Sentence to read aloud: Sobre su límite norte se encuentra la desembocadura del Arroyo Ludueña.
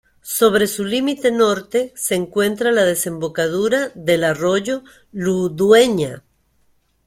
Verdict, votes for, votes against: rejected, 1, 2